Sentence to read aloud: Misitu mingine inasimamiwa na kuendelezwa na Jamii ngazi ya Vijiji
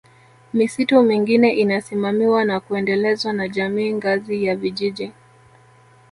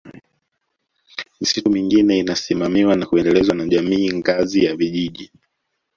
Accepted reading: first